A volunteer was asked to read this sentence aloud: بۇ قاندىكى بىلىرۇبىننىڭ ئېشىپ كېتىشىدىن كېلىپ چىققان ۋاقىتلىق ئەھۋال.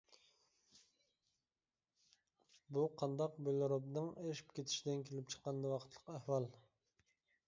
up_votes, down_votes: 0, 2